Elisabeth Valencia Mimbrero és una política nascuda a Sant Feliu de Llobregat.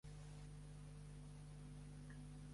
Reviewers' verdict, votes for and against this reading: rejected, 0, 2